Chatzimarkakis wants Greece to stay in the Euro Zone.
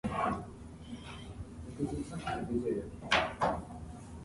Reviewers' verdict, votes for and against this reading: rejected, 0, 2